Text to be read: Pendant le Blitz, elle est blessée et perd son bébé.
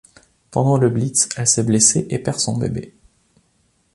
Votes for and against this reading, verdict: 1, 2, rejected